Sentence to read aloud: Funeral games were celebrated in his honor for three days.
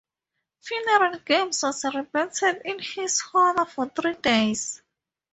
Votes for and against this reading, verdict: 2, 0, accepted